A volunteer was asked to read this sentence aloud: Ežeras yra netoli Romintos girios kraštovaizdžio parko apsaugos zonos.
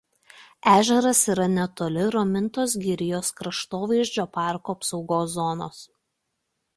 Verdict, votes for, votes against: rejected, 1, 2